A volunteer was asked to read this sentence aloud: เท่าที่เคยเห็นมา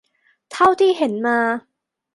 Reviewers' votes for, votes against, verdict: 0, 2, rejected